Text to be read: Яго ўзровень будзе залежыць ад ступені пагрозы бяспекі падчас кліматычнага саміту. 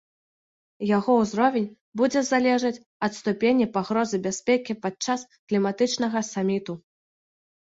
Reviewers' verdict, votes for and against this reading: rejected, 1, 2